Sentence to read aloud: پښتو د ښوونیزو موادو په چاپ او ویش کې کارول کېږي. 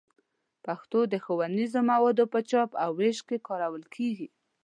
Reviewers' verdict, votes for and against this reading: accepted, 3, 0